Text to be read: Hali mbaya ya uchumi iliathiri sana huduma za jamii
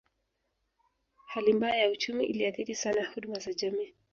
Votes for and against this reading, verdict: 1, 2, rejected